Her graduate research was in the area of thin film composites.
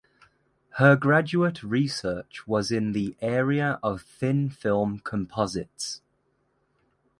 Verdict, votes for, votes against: accepted, 2, 0